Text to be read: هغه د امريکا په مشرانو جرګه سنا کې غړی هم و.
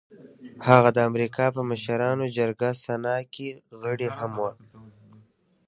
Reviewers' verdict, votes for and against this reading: accepted, 2, 0